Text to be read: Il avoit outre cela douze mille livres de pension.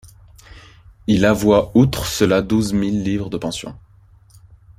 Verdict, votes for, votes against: accepted, 2, 0